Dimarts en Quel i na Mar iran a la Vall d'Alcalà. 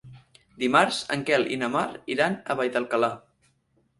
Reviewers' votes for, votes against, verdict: 0, 4, rejected